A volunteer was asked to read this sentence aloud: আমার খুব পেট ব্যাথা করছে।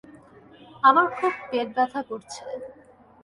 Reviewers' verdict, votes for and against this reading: accepted, 2, 0